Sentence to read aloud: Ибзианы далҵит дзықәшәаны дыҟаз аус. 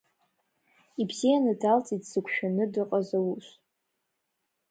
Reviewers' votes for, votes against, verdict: 1, 2, rejected